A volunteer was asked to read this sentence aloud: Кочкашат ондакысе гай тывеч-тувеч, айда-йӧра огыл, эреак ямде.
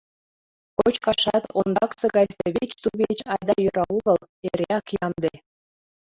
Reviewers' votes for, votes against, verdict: 1, 2, rejected